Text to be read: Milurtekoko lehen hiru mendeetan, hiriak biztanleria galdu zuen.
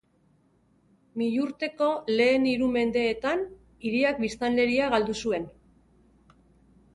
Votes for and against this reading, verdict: 0, 3, rejected